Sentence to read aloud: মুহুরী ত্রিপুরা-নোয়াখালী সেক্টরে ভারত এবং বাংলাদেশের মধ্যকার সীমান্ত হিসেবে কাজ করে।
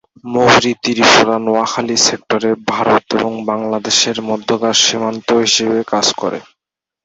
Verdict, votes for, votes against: rejected, 0, 2